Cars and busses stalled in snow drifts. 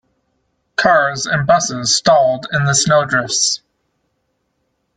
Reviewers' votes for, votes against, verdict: 1, 2, rejected